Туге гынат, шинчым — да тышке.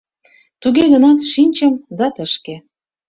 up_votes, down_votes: 2, 0